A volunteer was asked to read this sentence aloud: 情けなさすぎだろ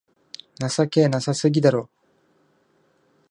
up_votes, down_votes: 2, 0